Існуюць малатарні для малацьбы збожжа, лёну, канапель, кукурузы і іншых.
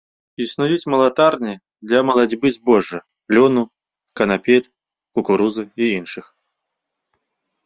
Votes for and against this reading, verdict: 2, 0, accepted